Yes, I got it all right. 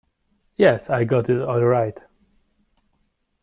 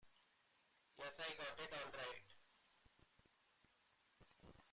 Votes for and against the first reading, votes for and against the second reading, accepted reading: 2, 0, 1, 2, first